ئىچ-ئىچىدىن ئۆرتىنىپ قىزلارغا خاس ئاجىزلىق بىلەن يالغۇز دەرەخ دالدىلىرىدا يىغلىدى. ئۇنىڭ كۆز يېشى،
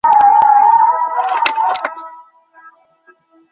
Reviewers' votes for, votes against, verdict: 0, 2, rejected